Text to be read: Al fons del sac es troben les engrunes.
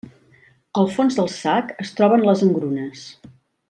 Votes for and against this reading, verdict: 3, 0, accepted